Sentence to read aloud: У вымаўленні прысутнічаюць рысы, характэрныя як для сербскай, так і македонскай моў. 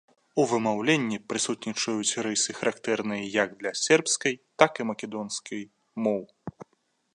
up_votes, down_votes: 2, 0